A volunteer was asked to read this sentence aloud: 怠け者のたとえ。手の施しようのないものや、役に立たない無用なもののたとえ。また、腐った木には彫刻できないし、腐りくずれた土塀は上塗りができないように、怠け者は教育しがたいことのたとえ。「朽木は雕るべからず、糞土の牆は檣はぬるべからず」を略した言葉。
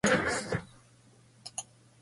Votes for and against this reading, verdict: 0, 2, rejected